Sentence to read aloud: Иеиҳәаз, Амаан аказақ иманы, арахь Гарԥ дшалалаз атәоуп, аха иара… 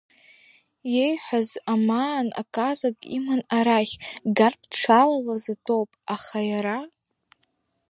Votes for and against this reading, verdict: 2, 1, accepted